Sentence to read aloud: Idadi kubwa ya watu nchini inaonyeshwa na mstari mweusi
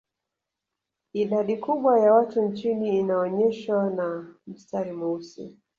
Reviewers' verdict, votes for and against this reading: rejected, 1, 2